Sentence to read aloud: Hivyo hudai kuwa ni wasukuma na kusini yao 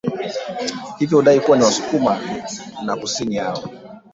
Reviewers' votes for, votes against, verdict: 2, 1, accepted